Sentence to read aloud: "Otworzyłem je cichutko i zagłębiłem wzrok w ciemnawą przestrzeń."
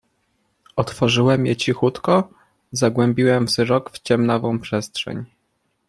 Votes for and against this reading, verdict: 2, 0, accepted